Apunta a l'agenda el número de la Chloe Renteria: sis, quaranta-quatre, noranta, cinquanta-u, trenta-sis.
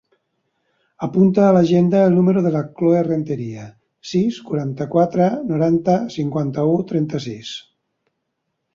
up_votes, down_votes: 2, 0